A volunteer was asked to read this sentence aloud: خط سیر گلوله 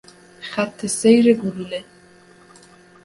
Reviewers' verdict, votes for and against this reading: accepted, 2, 0